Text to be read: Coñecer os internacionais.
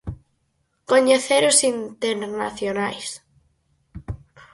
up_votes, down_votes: 4, 2